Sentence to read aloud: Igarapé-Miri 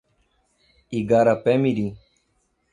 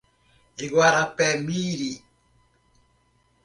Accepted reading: first